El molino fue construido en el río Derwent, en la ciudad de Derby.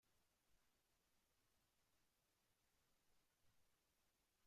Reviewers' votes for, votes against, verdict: 0, 2, rejected